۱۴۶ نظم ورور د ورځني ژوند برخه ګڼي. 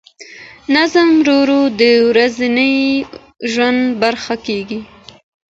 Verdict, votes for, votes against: rejected, 0, 2